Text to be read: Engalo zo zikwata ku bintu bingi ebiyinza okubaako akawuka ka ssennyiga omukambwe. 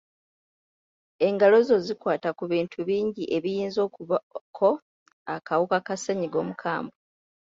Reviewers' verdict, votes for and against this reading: rejected, 1, 2